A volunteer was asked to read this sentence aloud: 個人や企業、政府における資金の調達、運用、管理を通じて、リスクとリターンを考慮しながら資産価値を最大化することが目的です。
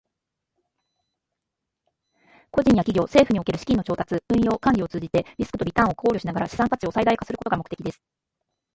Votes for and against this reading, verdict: 2, 1, accepted